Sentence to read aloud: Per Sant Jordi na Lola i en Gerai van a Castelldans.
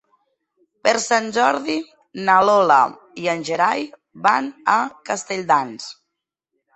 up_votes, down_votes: 4, 0